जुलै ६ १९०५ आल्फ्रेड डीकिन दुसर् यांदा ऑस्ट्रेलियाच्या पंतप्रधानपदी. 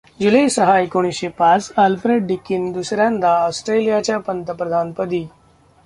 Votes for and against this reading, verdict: 0, 2, rejected